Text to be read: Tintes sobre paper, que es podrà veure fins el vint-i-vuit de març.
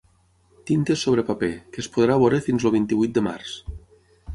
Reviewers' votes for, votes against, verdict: 9, 3, accepted